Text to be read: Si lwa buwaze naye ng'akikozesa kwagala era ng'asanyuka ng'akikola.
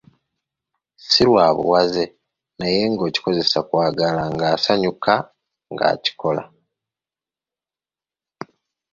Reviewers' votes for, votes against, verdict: 1, 2, rejected